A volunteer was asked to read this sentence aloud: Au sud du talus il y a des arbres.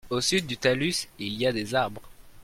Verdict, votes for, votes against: rejected, 0, 2